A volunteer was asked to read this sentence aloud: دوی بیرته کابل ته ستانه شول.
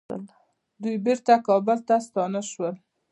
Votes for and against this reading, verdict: 2, 0, accepted